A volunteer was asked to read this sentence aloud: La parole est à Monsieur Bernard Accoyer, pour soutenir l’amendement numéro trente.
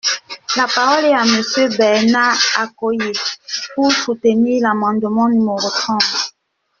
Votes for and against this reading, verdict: 0, 2, rejected